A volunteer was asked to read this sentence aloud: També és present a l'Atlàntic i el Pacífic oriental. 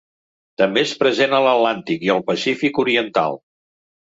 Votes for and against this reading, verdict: 2, 0, accepted